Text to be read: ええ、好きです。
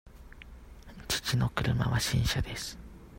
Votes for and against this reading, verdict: 0, 2, rejected